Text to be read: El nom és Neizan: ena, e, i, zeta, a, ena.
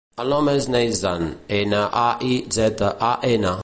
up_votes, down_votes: 0, 2